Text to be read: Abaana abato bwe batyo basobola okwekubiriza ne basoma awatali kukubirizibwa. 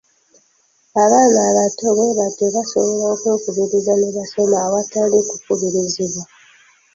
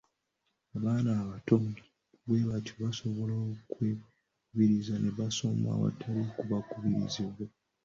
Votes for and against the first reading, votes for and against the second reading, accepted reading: 2, 0, 0, 2, first